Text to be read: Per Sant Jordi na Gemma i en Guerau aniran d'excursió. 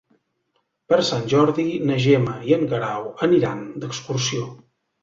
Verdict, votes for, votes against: accepted, 3, 0